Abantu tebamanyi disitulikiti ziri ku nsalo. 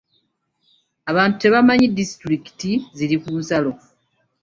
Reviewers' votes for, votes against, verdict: 2, 0, accepted